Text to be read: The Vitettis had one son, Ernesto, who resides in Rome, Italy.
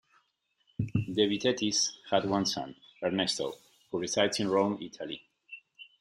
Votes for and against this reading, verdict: 2, 0, accepted